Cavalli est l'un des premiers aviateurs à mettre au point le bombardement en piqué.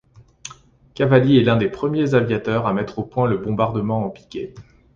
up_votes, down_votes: 2, 0